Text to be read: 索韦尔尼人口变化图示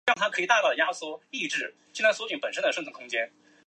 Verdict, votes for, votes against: rejected, 0, 2